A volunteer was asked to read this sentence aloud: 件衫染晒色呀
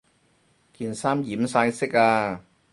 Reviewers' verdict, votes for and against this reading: rejected, 2, 2